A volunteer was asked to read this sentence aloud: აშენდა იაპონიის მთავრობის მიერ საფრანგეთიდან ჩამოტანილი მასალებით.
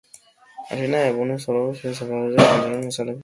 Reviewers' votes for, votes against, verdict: 0, 2, rejected